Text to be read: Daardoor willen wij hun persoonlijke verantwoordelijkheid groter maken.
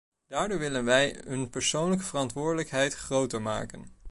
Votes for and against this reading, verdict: 1, 2, rejected